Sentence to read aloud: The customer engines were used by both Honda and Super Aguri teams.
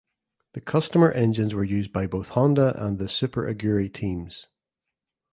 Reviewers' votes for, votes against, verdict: 0, 2, rejected